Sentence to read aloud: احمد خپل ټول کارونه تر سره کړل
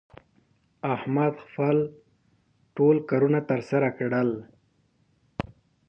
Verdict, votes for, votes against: accepted, 2, 0